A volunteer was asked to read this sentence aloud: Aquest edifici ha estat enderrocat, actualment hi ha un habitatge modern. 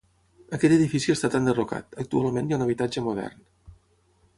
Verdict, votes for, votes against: rejected, 3, 3